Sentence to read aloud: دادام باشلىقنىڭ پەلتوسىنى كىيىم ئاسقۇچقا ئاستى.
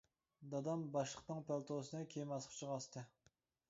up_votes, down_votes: 0, 2